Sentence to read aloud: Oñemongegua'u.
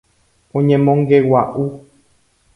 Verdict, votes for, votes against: accepted, 2, 0